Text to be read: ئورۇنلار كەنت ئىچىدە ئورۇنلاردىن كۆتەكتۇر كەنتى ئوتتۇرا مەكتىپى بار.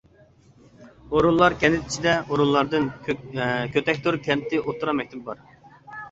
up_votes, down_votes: 0, 2